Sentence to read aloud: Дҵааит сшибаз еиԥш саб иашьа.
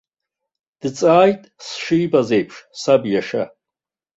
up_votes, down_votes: 1, 2